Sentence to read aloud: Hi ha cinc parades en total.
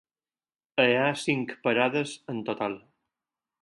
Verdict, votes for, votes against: rejected, 0, 4